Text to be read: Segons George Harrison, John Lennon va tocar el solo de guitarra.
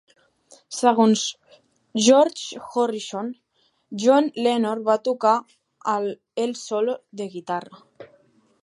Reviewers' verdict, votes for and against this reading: rejected, 0, 2